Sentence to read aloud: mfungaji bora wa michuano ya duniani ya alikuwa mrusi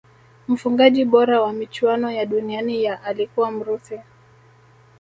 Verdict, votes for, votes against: accepted, 2, 0